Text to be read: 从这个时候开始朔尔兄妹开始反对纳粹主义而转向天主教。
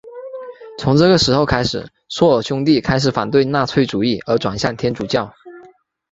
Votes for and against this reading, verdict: 2, 0, accepted